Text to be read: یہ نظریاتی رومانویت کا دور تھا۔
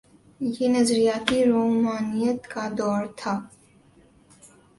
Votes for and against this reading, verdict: 2, 0, accepted